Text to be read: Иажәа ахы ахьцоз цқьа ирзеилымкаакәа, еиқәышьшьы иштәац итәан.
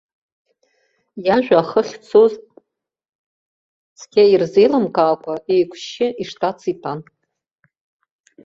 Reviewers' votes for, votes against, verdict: 0, 2, rejected